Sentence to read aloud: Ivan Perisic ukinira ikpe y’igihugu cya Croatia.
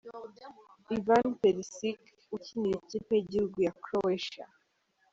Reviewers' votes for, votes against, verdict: 1, 2, rejected